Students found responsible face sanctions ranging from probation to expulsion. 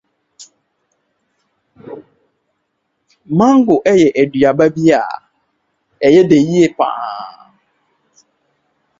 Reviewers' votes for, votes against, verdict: 1, 2, rejected